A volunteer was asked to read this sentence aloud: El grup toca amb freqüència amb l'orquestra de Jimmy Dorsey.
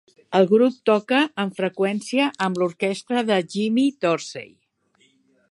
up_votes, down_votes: 2, 0